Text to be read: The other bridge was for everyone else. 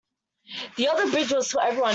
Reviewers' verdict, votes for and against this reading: rejected, 0, 2